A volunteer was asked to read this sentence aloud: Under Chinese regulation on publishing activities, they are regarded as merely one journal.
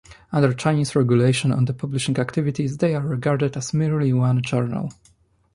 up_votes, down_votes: 1, 2